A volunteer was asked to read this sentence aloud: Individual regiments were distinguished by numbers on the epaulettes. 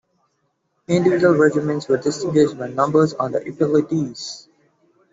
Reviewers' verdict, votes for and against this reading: rejected, 0, 2